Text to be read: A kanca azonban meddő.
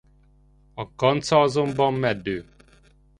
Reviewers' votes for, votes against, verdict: 2, 0, accepted